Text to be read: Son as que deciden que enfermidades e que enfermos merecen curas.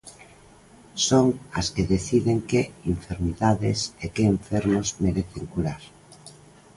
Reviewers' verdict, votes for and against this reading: rejected, 1, 2